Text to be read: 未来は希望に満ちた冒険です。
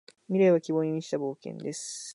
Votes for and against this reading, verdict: 3, 0, accepted